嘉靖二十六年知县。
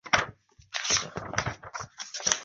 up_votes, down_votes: 0, 2